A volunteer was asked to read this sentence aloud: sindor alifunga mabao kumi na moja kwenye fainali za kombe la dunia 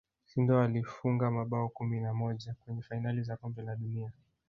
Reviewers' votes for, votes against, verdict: 0, 2, rejected